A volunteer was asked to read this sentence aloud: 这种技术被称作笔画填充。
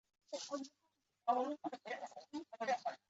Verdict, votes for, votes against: rejected, 0, 4